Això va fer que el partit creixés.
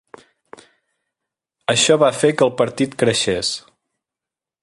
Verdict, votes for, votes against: accepted, 3, 0